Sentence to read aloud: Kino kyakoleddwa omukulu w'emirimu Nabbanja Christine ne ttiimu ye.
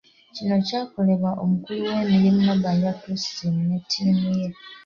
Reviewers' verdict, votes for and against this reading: rejected, 0, 2